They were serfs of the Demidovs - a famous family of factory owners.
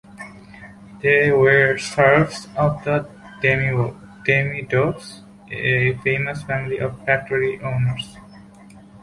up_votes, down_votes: 0, 2